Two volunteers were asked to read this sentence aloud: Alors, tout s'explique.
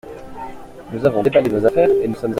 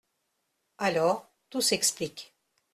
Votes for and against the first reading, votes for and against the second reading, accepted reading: 0, 2, 2, 0, second